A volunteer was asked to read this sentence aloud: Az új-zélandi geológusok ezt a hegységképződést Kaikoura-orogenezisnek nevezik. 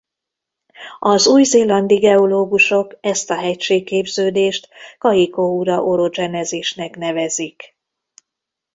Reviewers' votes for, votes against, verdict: 1, 2, rejected